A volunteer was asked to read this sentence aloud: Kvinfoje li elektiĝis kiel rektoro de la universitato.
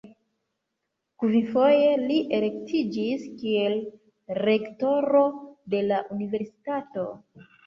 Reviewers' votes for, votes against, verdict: 1, 2, rejected